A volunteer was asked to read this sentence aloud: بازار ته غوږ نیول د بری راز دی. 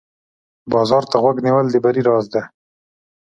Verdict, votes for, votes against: accepted, 2, 0